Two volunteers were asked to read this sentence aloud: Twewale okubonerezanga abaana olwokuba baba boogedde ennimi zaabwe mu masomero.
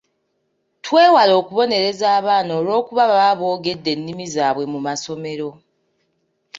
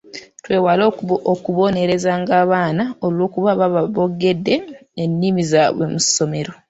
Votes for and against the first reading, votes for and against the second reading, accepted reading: 0, 2, 2, 1, second